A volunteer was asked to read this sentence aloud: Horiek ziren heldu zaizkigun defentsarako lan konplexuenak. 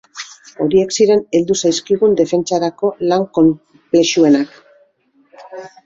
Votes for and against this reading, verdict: 1, 2, rejected